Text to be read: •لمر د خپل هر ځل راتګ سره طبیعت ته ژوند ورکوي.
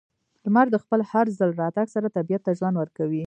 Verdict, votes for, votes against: accepted, 2, 0